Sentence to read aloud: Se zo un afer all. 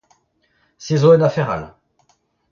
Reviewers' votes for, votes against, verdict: 0, 2, rejected